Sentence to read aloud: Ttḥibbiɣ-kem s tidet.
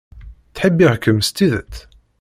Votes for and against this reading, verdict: 2, 0, accepted